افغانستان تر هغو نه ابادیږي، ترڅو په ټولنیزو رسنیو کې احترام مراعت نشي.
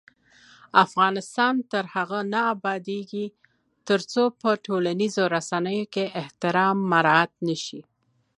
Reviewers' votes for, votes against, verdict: 2, 0, accepted